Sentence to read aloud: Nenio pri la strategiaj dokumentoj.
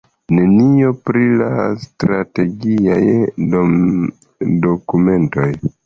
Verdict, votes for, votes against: accepted, 3, 1